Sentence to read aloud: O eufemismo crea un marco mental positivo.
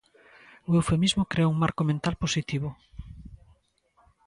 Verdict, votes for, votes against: accepted, 2, 0